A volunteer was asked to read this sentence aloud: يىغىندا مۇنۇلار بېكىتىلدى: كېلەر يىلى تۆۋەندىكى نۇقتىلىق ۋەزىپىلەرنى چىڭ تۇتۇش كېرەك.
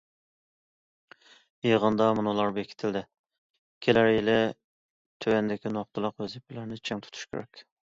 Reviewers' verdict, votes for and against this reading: accepted, 2, 0